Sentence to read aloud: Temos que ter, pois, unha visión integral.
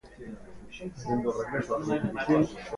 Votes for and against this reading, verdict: 0, 2, rejected